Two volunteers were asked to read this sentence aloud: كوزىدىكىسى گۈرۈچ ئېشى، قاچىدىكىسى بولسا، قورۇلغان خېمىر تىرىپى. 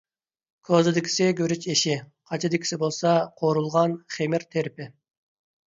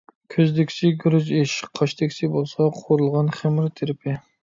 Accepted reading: first